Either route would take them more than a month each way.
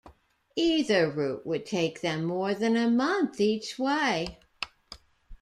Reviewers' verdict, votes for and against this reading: accepted, 2, 0